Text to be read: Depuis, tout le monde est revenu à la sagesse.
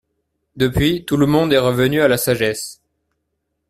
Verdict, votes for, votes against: accepted, 2, 0